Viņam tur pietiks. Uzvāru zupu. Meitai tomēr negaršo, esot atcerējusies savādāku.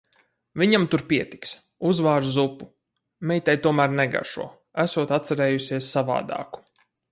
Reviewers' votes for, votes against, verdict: 4, 0, accepted